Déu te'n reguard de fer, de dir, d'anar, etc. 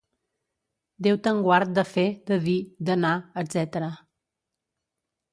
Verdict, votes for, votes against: rejected, 0, 2